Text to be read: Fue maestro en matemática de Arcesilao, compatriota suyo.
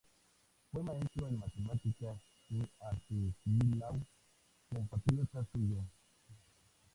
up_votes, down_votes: 0, 2